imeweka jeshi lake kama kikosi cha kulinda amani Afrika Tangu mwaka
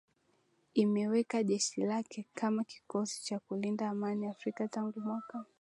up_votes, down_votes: 3, 0